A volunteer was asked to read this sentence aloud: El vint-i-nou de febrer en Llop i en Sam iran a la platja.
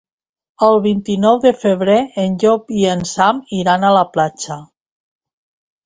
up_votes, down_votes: 2, 0